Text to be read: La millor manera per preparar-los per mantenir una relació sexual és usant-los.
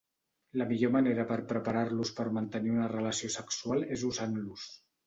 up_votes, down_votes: 2, 0